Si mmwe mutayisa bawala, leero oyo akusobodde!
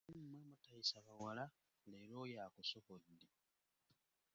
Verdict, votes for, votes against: rejected, 1, 2